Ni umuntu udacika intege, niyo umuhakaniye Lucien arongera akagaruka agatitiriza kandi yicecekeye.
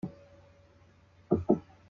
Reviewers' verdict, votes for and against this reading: rejected, 0, 2